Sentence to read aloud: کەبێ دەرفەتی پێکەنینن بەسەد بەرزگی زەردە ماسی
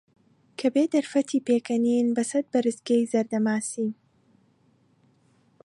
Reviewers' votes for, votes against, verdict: 2, 0, accepted